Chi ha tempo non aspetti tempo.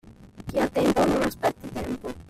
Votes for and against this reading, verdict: 2, 1, accepted